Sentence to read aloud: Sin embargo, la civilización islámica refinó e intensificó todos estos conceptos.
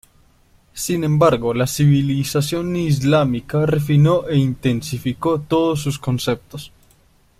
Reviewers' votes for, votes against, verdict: 2, 0, accepted